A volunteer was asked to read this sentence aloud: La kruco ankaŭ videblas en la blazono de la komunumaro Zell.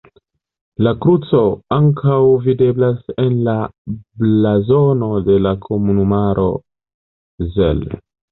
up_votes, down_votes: 0, 2